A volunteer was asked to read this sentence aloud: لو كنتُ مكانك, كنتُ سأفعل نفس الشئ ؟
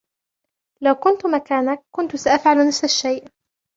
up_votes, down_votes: 2, 1